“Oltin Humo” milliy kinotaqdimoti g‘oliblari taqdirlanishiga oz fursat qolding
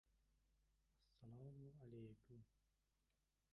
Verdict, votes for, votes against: rejected, 0, 2